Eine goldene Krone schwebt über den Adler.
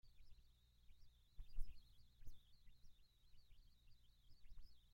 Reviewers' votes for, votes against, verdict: 0, 2, rejected